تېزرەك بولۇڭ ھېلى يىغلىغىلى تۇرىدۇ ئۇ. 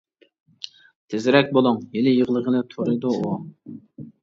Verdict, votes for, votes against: rejected, 0, 2